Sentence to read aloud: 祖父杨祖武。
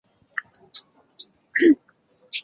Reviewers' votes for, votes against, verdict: 0, 3, rejected